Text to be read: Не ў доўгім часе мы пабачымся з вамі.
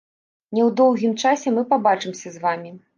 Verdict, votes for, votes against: accepted, 2, 1